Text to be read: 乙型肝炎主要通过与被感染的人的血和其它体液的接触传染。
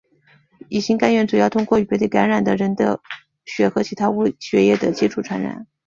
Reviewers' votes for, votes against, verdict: 3, 4, rejected